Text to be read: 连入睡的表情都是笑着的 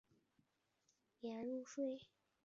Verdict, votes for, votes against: rejected, 0, 2